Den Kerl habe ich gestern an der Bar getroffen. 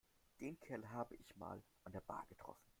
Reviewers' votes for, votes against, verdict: 0, 2, rejected